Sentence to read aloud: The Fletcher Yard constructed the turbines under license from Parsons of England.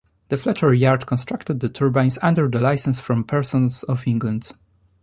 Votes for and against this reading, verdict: 2, 0, accepted